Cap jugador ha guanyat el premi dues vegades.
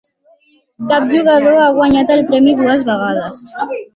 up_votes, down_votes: 3, 0